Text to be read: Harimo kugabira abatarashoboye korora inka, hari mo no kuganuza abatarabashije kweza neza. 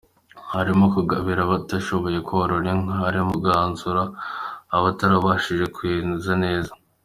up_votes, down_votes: 2, 0